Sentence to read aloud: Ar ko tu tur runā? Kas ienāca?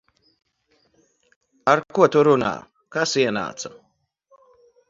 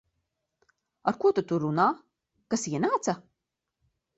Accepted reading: second